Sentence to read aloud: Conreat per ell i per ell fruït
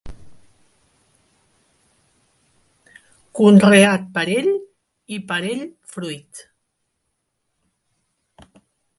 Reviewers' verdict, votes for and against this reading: accepted, 3, 2